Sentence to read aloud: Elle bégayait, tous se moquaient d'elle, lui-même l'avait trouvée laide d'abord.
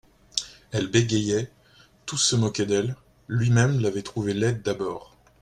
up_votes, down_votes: 2, 0